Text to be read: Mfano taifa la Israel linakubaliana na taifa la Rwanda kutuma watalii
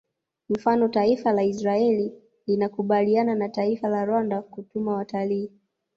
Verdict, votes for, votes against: accepted, 2, 1